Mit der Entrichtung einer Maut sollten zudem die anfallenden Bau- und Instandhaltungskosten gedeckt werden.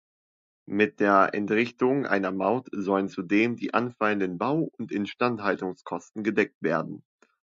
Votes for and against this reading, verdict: 0, 2, rejected